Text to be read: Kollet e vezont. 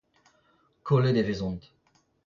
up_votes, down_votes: 2, 1